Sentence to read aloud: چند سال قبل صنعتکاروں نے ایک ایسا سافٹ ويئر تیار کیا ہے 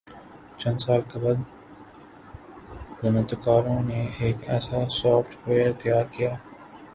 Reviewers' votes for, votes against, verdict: 1, 2, rejected